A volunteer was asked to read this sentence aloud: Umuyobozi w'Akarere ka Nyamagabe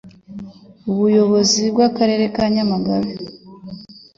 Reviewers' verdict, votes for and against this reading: accepted, 2, 0